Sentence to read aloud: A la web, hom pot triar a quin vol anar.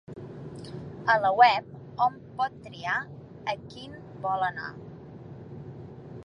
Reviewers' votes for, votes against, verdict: 3, 0, accepted